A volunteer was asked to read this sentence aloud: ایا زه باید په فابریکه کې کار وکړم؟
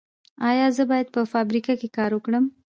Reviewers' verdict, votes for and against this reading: accepted, 2, 0